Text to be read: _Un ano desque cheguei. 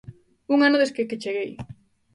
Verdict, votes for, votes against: rejected, 0, 2